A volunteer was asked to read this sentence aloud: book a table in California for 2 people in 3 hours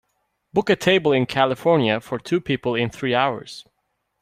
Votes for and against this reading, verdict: 0, 2, rejected